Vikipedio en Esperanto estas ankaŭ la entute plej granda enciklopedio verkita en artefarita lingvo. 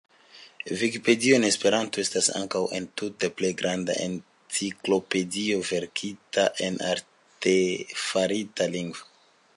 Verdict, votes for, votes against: accepted, 2, 1